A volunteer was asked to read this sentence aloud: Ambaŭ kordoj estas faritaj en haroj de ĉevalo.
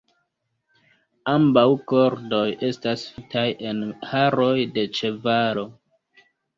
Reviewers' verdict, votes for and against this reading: rejected, 1, 2